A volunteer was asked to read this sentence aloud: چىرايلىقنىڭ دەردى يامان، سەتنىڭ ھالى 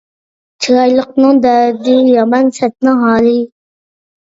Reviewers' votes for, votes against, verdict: 2, 0, accepted